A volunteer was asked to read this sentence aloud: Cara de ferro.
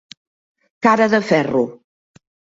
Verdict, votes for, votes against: accepted, 2, 0